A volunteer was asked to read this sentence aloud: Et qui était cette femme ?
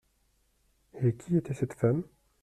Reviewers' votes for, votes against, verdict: 2, 0, accepted